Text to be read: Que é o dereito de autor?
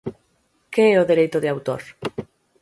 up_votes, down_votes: 6, 0